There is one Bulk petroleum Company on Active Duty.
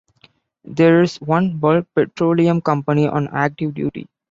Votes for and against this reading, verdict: 2, 1, accepted